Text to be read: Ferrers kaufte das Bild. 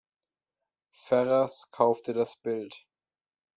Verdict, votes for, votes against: accepted, 2, 0